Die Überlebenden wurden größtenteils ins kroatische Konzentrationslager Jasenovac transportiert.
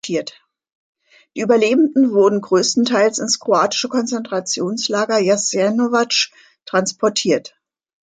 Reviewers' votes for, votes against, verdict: 1, 2, rejected